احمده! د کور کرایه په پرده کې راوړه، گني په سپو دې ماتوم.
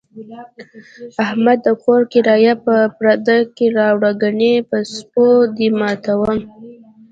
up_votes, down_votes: 2, 0